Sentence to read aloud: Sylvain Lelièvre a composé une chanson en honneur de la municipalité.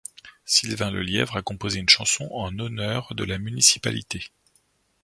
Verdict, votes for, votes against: accepted, 2, 0